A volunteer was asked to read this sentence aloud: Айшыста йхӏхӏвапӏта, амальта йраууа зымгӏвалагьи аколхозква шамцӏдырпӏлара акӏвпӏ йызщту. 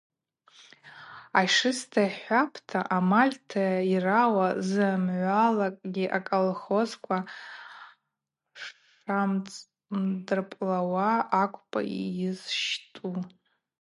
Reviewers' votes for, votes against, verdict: 0, 4, rejected